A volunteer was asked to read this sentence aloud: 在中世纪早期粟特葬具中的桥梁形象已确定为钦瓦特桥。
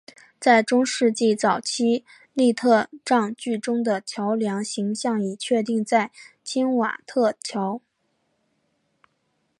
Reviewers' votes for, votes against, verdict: 3, 2, accepted